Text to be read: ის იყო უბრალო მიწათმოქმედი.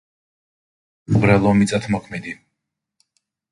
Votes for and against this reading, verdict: 0, 3, rejected